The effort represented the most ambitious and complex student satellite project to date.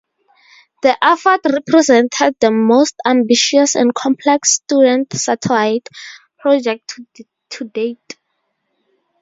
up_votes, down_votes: 0, 4